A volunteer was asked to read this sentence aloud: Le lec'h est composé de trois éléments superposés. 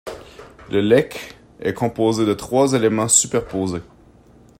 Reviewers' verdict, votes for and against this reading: accepted, 2, 0